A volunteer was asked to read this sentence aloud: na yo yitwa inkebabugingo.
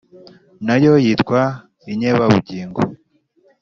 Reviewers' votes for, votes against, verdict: 2, 0, accepted